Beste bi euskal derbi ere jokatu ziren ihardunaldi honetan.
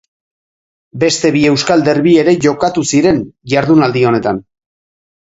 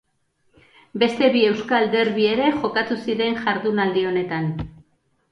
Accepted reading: first